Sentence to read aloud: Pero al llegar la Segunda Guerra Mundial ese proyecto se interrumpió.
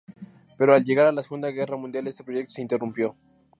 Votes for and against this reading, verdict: 0, 2, rejected